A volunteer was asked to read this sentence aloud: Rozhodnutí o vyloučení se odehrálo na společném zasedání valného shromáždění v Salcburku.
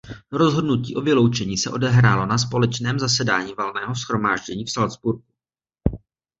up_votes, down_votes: 2, 0